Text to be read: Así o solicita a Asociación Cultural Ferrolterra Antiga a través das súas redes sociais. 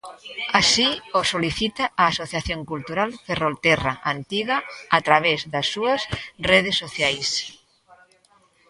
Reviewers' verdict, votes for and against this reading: rejected, 0, 2